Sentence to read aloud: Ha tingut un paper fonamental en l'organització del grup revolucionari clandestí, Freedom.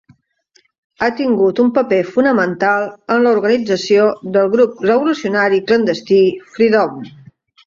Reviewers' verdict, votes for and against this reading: accepted, 4, 2